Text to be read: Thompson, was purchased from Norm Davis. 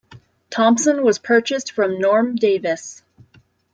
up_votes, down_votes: 2, 0